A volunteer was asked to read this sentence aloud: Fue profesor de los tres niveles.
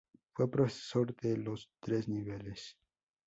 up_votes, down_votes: 2, 0